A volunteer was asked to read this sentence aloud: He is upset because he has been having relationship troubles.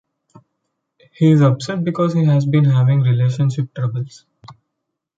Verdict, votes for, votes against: accepted, 2, 0